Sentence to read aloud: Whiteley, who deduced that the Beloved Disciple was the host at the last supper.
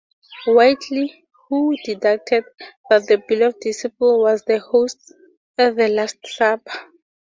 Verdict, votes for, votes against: rejected, 0, 2